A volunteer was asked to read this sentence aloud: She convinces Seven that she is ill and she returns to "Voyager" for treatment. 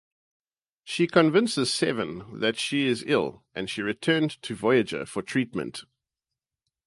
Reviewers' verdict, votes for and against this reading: rejected, 0, 2